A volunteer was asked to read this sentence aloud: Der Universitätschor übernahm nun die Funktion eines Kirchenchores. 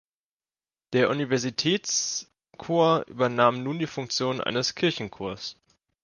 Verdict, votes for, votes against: accepted, 2, 0